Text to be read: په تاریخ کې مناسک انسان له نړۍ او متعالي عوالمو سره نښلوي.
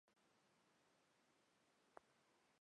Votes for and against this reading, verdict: 1, 2, rejected